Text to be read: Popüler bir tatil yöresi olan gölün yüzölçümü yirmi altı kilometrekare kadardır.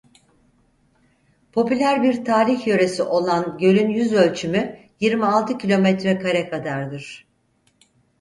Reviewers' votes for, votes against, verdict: 2, 4, rejected